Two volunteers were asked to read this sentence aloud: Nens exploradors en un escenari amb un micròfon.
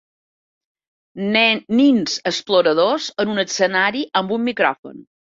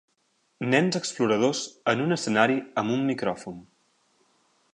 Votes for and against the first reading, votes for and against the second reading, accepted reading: 0, 3, 2, 0, second